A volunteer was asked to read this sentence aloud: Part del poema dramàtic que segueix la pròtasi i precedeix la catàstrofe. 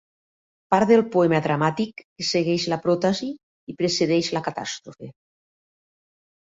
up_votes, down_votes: 2, 0